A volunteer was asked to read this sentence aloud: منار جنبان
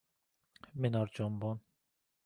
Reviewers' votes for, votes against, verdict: 1, 2, rejected